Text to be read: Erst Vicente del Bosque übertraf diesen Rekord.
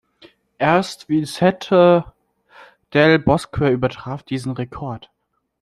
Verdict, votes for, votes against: rejected, 1, 2